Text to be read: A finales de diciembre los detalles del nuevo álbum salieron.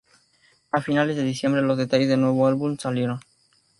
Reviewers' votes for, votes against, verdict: 2, 0, accepted